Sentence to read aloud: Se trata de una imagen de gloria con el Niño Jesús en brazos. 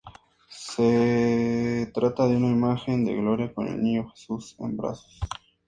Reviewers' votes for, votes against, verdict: 2, 0, accepted